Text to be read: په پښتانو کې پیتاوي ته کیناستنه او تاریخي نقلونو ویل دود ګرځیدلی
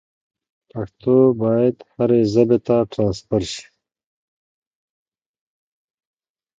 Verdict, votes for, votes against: rejected, 0, 2